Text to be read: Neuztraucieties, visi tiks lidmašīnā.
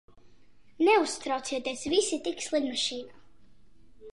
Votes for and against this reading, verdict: 2, 1, accepted